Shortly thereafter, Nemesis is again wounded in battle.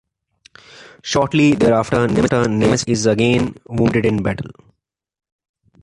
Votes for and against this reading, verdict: 0, 2, rejected